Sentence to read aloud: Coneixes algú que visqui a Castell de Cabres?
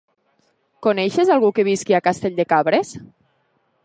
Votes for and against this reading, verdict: 3, 0, accepted